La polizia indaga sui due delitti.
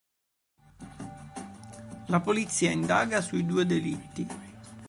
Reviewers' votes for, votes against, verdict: 1, 2, rejected